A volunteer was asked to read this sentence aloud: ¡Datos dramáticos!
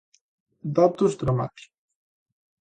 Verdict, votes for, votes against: rejected, 0, 2